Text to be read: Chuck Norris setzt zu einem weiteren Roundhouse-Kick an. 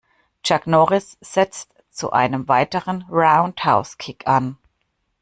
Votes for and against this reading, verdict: 2, 0, accepted